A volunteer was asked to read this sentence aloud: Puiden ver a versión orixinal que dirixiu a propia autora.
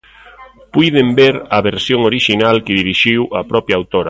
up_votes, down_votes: 2, 0